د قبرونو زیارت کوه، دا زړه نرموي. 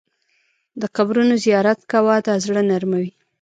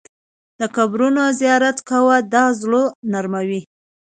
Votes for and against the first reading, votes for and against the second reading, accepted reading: 1, 2, 2, 1, second